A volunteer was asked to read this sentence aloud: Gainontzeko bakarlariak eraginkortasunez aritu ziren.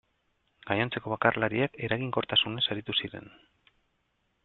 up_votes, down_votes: 2, 3